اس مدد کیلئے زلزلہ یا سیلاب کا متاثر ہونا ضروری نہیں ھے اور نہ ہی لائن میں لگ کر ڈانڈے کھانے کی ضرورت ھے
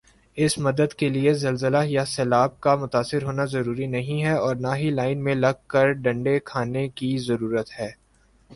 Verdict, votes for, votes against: rejected, 1, 2